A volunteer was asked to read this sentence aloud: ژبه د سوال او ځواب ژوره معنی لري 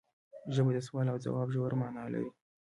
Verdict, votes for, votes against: accepted, 2, 0